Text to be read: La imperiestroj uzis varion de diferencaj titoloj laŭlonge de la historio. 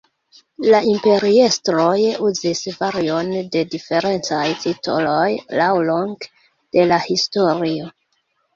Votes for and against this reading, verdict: 1, 2, rejected